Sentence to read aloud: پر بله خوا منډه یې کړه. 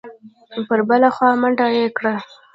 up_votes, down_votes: 0, 2